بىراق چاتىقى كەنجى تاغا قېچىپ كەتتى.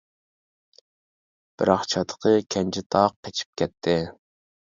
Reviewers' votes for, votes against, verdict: 0, 2, rejected